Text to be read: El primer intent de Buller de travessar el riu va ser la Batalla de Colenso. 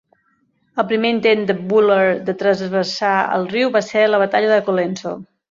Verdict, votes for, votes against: rejected, 0, 2